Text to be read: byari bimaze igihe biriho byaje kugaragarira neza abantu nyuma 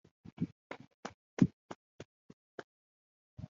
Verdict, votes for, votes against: rejected, 1, 2